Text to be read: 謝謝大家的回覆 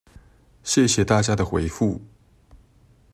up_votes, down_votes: 2, 0